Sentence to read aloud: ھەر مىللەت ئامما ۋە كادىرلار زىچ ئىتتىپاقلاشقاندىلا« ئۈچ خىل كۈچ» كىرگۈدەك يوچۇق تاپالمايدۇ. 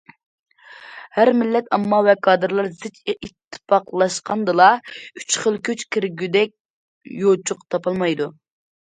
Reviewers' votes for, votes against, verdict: 2, 0, accepted